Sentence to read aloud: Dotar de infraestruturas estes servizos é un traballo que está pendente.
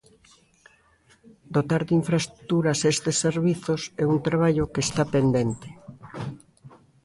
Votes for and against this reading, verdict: 2, 0, accepted